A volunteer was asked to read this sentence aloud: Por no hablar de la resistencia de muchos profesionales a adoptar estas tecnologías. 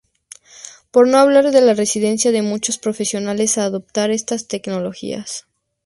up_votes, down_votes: 0, 2